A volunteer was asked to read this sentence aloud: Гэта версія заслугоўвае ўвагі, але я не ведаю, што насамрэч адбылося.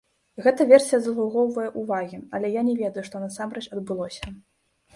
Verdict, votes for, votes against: rejected, 1, 2